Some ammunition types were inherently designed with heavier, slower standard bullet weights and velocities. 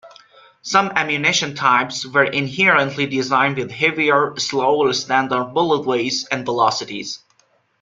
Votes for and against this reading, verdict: 2, 0, accepted